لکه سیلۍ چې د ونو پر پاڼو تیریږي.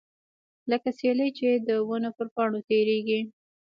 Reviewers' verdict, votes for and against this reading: accepted, 2, 0